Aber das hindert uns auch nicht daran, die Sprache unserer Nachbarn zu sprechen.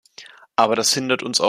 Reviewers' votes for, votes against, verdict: 0, 2, rejected